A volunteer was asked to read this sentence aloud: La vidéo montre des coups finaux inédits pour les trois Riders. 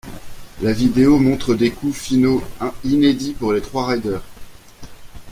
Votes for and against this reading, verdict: 1, 2, rejected